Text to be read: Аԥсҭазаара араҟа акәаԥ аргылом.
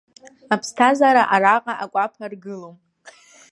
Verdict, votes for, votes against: rejected, 0, 2